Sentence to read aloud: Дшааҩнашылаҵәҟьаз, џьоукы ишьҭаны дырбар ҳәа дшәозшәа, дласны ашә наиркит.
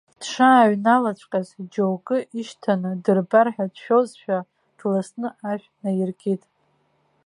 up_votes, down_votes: 2, 1